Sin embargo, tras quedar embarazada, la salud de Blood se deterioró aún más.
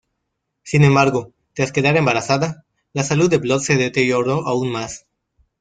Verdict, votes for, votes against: accepted, 2, 0